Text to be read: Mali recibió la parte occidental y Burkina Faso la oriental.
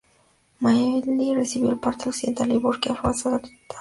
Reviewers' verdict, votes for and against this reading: rejected, 0, 4